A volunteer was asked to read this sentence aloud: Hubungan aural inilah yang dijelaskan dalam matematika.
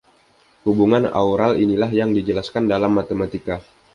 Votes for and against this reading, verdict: 2, 0, accepted